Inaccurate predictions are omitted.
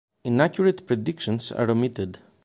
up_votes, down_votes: 2, 0